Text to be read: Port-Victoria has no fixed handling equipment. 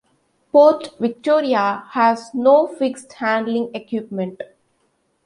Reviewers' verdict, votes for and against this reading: accepted, 2, 0